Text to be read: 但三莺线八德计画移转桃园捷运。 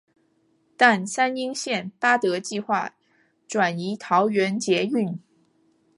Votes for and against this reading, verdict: 2, 0, accepted